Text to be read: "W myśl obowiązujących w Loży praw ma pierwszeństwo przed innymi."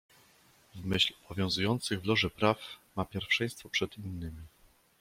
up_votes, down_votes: 1, 2